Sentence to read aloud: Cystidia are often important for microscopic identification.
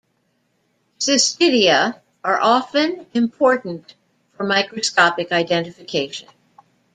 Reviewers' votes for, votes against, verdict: 2, 0, accepted